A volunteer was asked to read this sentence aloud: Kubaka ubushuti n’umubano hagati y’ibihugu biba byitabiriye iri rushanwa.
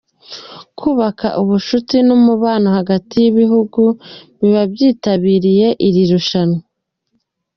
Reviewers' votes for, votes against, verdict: 2, 0, accepted